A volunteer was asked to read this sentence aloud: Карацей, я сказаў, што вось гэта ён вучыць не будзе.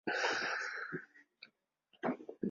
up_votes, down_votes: 0, 2